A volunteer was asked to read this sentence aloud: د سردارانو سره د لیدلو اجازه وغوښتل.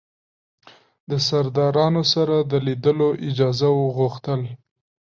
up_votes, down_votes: 3, 0